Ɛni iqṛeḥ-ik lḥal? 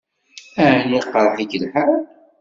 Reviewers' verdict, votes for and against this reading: accepted, 2, 0